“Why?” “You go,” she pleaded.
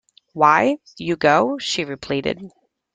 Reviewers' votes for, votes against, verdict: 0, 2, rejected